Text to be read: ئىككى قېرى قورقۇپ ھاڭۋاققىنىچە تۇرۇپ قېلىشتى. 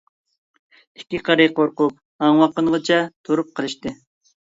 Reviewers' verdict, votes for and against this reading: rejected, 1, 2